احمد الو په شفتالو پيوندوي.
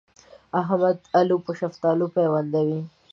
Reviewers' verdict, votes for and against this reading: accepted, 2, 0